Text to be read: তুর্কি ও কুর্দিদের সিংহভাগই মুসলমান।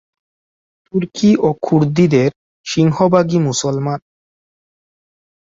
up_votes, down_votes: 0, 4